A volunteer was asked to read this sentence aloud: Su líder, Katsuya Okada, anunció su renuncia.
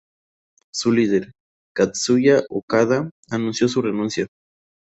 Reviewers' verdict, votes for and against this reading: accepted, 2, 0